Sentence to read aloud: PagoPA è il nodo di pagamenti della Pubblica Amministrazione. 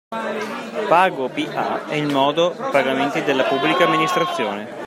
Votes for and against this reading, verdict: 1, 2, rejected